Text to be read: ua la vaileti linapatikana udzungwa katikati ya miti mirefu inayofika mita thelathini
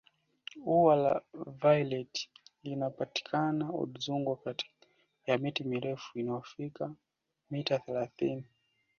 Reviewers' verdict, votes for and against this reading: accepted, 2, 1